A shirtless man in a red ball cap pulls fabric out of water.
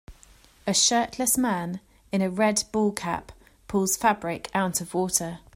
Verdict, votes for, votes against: accepted, 2, 0